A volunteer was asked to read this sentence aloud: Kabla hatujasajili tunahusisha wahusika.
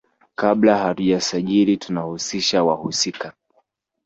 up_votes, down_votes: 2, 1